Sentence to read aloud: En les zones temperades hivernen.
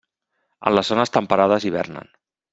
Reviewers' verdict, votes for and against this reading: rejected, 1, 2